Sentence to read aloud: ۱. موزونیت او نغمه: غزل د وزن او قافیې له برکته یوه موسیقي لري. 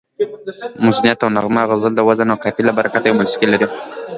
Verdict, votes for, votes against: rejected, 0, 2